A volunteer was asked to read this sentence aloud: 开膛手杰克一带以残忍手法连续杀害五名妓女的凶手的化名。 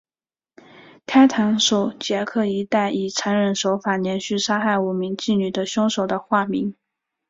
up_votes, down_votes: 3, 2